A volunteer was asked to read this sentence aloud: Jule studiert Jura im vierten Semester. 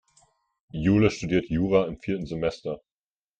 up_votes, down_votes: 2, 0